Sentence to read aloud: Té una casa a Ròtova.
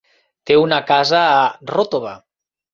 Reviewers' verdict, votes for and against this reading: rejected, 0, 2